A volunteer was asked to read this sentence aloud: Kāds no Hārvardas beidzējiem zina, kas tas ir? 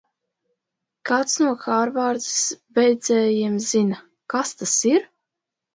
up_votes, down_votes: 1, 2